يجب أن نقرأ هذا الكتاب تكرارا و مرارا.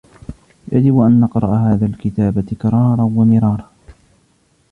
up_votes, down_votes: 0, 2